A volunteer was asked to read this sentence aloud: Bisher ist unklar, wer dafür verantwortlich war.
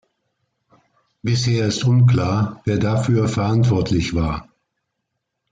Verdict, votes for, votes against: accepted, 2, 0